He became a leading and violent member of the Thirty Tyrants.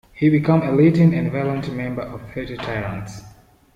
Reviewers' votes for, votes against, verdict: 1, 2, rejected